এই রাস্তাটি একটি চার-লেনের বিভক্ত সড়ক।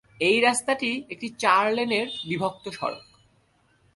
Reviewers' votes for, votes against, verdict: 2, 0, accepted